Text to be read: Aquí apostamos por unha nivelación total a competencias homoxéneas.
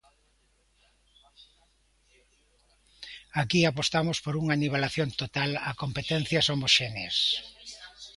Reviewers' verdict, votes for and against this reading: accepted, 2, 1